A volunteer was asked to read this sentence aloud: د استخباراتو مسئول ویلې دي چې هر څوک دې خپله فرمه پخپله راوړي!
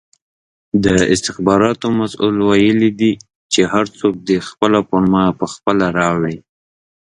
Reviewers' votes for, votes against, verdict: 2, 0, accepted